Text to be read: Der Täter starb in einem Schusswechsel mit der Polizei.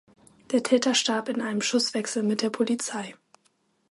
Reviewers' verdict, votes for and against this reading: accepted, 2, 0